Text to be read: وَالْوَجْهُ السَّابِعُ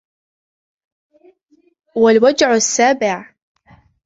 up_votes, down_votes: 0, 2